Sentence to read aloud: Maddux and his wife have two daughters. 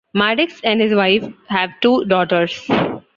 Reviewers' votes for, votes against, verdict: 2, 0, accepted